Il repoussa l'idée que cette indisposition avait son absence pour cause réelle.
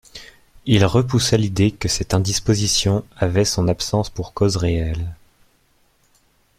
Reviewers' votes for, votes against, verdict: 2, 0, accepted